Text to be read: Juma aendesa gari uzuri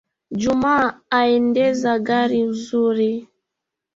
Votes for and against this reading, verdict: 0, 2, rejected